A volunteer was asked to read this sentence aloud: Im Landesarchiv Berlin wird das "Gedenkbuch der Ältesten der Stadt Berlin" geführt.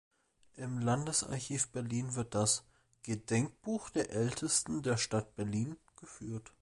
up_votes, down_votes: 2, 0